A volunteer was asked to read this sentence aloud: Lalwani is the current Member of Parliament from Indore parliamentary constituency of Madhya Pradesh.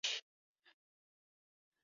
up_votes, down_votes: 0, 2